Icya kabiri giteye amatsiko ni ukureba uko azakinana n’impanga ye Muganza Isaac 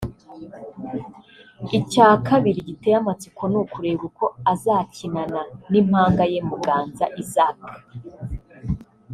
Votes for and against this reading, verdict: 2, 0, accepted